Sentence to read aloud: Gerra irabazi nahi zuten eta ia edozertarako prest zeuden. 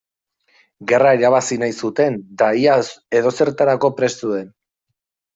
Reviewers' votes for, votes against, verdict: 1, 2, rejected